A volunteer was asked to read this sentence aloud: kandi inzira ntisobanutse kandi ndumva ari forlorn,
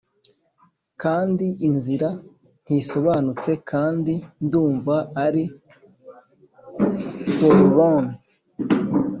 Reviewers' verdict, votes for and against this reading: accepted, 3, 0